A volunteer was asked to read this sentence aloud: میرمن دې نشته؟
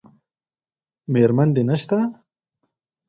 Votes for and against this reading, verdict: 4, 0, accepted